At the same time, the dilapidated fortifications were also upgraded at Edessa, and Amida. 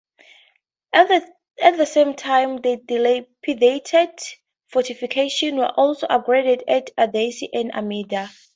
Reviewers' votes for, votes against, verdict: 0, 4, rejected